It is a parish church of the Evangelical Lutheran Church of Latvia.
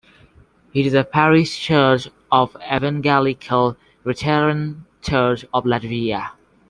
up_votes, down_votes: 1, 2